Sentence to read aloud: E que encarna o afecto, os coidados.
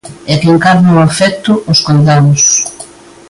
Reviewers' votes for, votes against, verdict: 2, 0, accepted